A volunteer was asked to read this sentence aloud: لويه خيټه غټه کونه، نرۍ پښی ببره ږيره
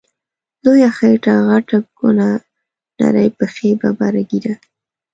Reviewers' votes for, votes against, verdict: 2, 0, accepted